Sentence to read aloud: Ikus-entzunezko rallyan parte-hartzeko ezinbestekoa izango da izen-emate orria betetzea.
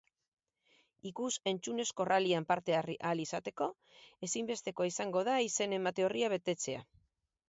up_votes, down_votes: 2, 2